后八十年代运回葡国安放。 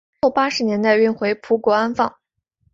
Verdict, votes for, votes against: accepted, 3, 0